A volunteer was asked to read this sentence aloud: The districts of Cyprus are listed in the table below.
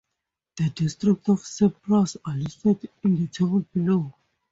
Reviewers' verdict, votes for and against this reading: accepted, 4, 0